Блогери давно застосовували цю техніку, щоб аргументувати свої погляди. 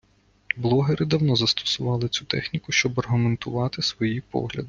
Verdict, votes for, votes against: rejected, 1, 2